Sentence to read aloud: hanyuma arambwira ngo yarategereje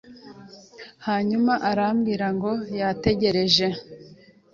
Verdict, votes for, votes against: accepted, 2, 1